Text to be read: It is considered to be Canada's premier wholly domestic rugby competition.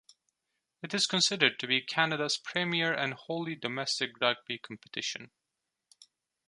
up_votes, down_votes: 1, 2